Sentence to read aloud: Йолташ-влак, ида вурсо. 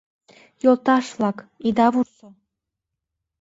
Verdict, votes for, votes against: rejected, 0, 2